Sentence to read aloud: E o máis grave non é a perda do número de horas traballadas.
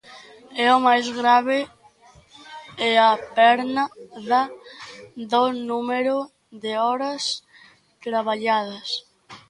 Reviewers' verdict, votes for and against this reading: rejected, 0, 2